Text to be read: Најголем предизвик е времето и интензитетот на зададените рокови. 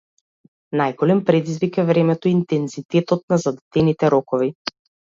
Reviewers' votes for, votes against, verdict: 2, 0, accepted